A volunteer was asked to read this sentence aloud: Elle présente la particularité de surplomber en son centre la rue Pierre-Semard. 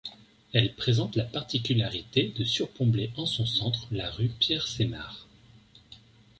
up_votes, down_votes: 0, 2